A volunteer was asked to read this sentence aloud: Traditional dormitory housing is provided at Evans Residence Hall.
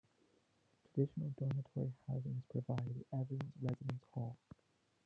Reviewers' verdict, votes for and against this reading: rejected, 1, 2